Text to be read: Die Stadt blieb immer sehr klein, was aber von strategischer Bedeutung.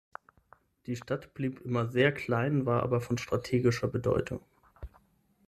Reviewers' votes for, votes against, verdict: 3, 6, rejected